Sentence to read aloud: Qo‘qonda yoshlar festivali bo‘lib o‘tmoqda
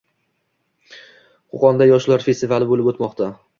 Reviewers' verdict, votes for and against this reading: rejected, 1, 2